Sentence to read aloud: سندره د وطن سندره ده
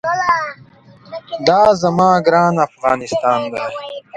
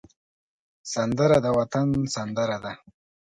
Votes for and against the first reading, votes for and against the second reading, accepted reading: 0, 2, 2, 0, second